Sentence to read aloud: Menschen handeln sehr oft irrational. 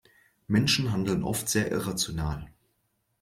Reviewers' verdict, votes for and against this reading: rejected, 0, 2